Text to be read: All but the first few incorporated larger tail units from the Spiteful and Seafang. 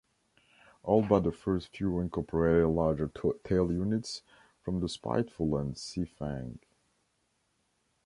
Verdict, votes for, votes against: rejected, 0, 2